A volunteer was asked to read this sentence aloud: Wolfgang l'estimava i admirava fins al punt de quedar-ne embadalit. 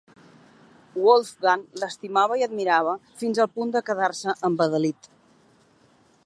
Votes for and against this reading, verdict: 0, 2, rejected